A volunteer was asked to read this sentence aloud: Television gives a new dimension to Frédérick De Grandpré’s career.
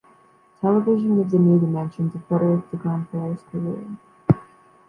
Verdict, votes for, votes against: rejected, 1, 2